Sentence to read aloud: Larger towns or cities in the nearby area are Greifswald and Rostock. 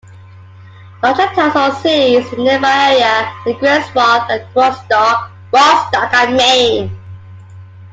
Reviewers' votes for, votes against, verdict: 0, 2, rejected